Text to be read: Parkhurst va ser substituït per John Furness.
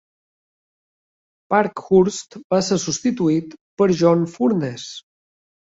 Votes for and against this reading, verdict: 2, 0, accepted